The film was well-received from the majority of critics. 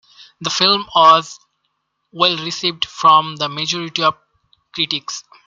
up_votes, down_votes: 2, 1